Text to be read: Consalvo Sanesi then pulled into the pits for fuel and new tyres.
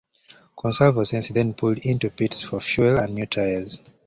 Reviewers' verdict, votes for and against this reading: accepted, 2, 1